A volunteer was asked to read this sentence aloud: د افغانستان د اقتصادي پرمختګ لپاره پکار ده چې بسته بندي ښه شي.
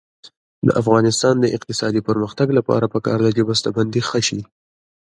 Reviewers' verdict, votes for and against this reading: accepted, 2, 0